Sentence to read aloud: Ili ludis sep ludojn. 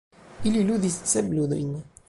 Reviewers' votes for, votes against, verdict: 0, 2, rejected